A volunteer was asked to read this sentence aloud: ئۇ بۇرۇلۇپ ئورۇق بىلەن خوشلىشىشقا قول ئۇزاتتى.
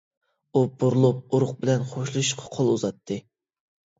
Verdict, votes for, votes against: rejected, 1, 2